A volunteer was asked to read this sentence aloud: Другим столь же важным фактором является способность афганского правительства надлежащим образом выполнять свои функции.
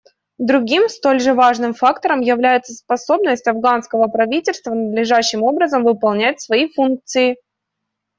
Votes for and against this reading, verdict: 2, 0, accepted